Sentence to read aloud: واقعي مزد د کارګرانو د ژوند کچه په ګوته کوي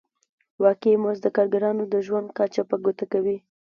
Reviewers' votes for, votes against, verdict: 2, 0, accepted